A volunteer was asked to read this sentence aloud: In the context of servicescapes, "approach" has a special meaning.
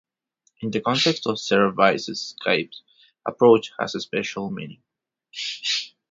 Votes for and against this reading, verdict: 0, 2, rejected